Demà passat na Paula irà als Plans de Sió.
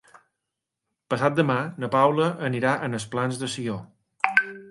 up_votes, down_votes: 0, 3